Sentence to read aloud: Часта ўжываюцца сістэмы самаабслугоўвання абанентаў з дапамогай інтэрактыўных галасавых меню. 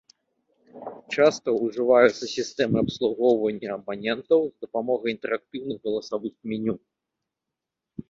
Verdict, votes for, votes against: rejected, 0, 2